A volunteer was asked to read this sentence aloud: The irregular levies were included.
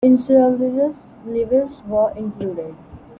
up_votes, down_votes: 0, 2